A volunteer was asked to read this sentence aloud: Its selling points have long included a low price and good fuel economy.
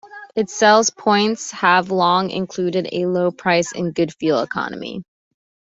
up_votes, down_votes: 0, 2